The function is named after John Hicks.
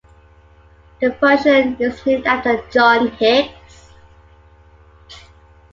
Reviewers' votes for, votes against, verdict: 0, 2, rejected